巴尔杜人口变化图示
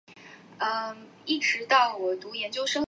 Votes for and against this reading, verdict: 0, 3, rejected